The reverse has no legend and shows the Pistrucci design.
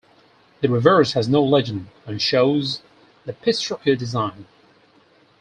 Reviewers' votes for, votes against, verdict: 4, 0, accepted